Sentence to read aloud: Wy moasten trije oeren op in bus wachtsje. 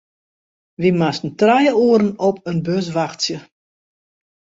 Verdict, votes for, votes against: accepted, 2, 0